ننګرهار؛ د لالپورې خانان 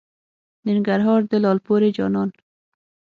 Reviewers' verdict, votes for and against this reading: rejected, 0, 9